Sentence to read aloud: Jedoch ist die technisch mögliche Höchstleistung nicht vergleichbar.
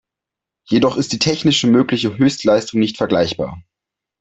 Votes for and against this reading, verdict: 2, 0, accepted